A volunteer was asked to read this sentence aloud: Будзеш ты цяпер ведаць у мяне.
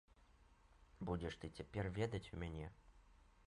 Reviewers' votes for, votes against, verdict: 0, 2, rejected